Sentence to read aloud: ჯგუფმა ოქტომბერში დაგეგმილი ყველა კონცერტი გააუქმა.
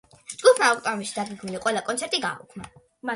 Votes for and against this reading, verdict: 2, 1, accepted